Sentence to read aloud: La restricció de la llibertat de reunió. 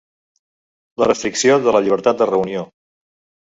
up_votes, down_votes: 3, 0